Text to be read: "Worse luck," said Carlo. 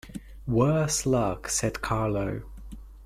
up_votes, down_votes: 2, 0